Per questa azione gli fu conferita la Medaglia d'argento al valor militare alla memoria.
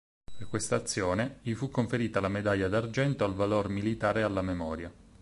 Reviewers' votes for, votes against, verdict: 8, 0, accepted